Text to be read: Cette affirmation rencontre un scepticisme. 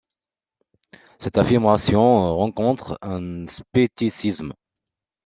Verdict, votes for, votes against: rejected, 0, 2